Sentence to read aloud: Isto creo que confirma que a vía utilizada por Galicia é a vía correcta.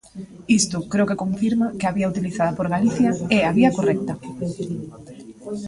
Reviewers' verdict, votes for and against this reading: accepted, 2, 1